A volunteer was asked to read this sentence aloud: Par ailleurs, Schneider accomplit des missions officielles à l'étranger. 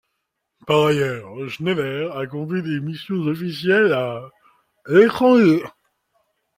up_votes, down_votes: 2, 1